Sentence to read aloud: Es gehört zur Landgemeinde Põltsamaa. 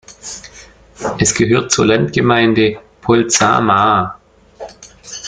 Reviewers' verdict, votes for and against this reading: rejected, 1, 2